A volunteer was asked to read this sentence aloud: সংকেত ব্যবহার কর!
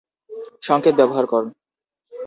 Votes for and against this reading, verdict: 0, 2, rejected